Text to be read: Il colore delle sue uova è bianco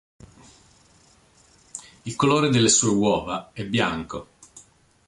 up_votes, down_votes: 2, 0